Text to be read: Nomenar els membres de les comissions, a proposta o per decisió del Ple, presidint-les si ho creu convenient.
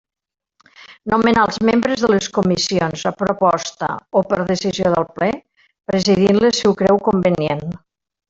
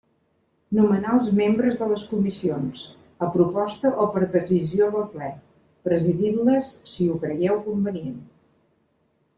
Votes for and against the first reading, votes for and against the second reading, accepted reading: 1, 2, 2, 0, second